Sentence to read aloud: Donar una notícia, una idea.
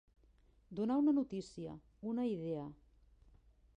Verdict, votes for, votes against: rejected, 0, 2